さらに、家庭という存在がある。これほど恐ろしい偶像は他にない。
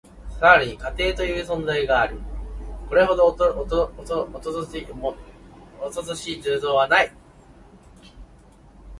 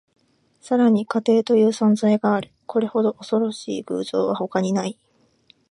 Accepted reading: second